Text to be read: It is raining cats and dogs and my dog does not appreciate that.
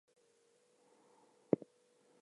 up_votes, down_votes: 0, 4